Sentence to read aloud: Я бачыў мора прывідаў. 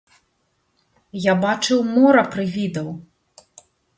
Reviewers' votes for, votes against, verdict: 2, 1, accepted